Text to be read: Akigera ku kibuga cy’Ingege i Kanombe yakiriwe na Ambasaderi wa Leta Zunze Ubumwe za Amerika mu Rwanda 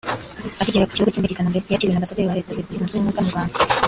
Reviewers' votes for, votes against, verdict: 0, 2, rejected